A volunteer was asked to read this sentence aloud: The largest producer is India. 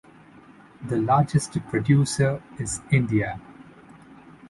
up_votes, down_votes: 2, 0